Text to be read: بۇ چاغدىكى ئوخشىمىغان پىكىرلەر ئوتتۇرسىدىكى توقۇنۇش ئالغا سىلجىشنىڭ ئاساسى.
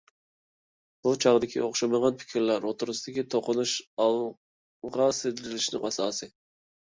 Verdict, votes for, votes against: rejected, 0, 2